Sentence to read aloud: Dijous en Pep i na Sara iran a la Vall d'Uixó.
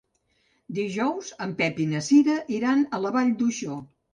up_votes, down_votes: 0, 2